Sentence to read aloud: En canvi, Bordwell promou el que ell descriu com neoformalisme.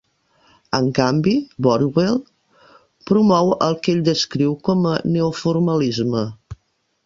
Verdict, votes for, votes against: rejected, 0, 2